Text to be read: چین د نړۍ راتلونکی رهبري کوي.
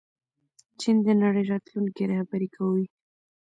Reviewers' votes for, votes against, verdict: 0, 2, rejected